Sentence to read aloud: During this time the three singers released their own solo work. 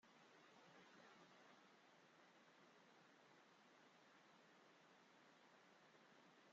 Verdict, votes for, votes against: rejected, 0, 2